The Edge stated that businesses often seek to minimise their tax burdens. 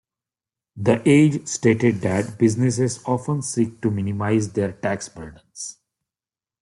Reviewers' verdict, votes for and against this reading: accepted, 2, 0